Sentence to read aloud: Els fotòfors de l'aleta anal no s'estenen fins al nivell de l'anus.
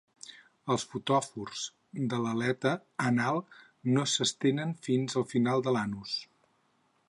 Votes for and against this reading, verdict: 0, 6, rejected